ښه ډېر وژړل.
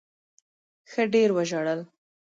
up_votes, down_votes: 1, 2